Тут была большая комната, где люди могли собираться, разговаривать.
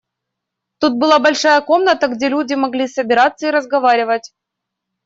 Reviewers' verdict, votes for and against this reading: rejected, 1, 2